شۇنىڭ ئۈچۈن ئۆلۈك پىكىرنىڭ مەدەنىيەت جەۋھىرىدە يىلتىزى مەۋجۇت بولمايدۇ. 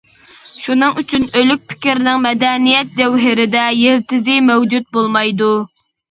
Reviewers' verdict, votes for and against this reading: accepted, 2, 0